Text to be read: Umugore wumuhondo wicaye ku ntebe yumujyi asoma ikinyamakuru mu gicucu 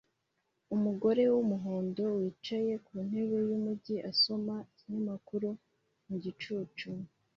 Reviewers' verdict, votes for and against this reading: accepted, 2, 0